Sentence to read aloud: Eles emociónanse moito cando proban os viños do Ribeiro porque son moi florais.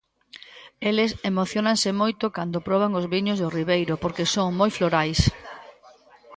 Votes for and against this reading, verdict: 0, 2, rejected